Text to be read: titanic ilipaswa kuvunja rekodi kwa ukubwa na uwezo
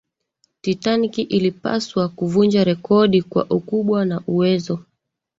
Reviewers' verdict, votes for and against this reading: accepted, 3, 1